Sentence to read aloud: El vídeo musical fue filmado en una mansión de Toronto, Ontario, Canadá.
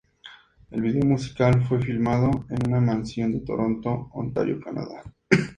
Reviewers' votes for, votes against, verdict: 2, 0, accepted